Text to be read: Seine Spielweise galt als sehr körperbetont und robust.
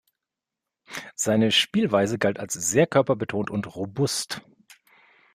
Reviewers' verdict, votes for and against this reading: accepted, 2, 0